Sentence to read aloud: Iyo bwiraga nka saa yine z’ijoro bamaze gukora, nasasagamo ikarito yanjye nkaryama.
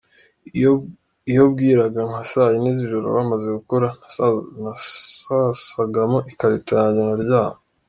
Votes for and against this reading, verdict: 1, 2, rejected